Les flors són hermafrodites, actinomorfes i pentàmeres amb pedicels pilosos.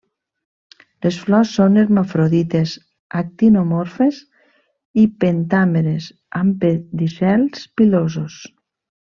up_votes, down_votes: 3, 0